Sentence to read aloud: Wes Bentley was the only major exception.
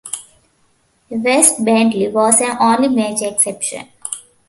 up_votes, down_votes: 2, 1